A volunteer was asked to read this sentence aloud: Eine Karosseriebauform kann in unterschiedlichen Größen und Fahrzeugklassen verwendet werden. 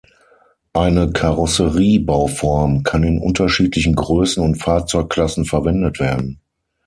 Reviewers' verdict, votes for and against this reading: accepted, 6, 0